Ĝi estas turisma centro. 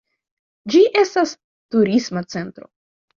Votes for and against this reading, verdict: 2, 1, accepted